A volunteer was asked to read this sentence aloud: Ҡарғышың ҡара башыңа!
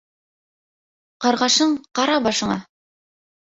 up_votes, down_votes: 0, 2